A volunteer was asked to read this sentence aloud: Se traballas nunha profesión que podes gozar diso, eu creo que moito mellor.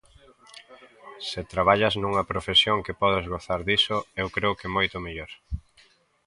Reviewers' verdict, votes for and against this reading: accepted, 2, 0